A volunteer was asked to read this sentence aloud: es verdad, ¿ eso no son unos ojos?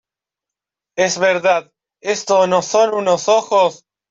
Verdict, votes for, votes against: rejected, 1, 2